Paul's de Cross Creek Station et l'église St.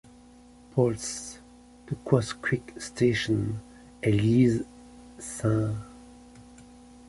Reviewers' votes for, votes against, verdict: 0, 2, rejected